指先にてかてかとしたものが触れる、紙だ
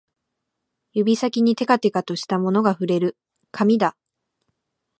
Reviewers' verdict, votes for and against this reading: accepted, 2, 0